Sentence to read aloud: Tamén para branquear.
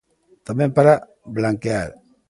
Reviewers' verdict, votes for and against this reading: rejected, 1, 2